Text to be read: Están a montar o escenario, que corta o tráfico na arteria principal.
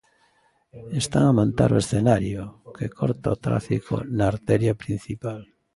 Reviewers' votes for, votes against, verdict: 2, 0, accepted